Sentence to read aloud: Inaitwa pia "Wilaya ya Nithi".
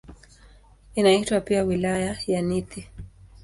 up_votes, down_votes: 7, 4